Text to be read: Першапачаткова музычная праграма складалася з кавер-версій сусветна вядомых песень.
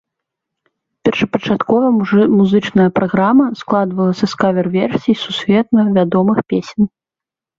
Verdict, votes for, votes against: rejected, 0, 2